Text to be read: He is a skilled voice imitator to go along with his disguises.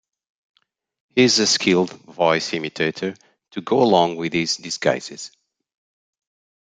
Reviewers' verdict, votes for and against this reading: accepted, 2, 0